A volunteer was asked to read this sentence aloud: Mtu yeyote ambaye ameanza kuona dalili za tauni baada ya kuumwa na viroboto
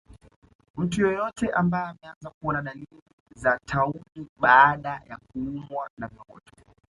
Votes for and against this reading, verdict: 2, 0, accepted